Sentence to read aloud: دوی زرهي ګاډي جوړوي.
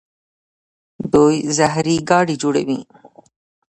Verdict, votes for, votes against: rejected, 1, 2